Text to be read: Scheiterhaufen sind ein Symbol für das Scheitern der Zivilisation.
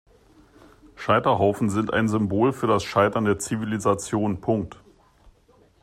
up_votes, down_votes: 1, 2